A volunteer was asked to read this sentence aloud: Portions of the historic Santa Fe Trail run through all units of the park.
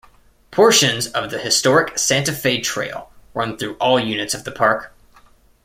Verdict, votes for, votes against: accepted, 2, 0